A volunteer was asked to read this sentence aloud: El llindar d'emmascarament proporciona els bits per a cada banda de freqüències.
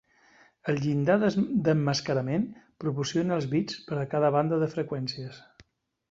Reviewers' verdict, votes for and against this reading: rejected, 0, 3